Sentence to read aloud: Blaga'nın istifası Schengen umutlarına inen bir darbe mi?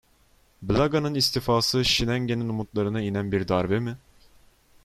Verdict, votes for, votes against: rejected, 1, 2